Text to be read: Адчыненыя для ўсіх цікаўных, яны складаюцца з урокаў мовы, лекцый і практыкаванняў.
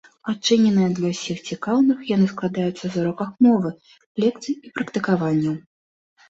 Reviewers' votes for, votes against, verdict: 1, 2, rejected